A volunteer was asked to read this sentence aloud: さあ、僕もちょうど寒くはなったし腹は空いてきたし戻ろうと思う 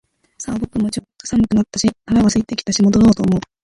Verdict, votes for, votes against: rejected, 1, 3